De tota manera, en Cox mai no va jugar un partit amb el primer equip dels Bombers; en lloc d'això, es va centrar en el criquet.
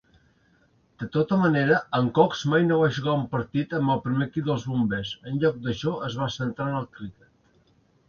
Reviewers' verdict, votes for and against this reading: rejected, 1, 2